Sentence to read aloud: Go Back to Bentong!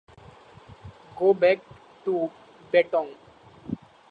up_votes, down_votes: 1, 2